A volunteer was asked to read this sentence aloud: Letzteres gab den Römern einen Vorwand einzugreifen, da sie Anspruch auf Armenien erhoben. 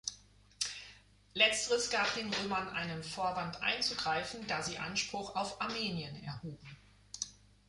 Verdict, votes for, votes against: accepted, 2, 0